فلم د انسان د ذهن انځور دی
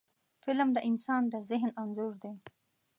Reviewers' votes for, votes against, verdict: 2, 0, accepted